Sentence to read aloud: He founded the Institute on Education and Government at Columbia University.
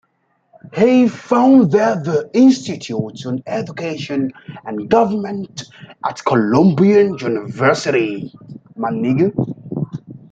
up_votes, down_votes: 0, 2